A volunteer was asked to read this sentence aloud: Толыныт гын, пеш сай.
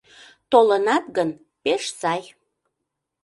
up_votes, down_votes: 0, 2